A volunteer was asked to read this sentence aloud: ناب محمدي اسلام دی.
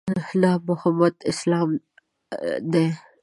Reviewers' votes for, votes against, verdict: 1, 2, rejected